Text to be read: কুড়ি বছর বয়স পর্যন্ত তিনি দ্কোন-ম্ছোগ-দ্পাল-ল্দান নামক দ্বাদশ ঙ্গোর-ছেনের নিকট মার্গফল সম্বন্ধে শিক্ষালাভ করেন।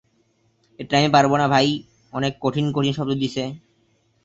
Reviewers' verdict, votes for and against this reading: rejected, 0, 2